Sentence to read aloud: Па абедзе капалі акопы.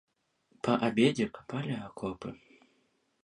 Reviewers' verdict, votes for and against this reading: accepted, 2, 0